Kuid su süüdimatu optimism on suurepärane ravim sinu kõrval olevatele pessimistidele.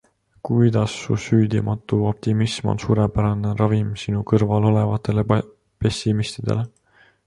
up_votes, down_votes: 0, 2